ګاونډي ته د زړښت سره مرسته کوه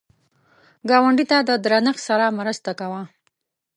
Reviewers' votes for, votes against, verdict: 0, 2, rejected